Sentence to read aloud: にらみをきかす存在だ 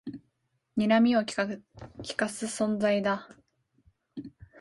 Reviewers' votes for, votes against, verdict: 1, 2, rejected